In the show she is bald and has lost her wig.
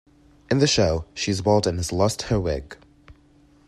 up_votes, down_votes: 1, 2